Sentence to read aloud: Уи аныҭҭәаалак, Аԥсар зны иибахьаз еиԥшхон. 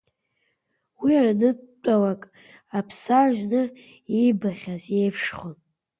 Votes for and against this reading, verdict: 0, 2, rejected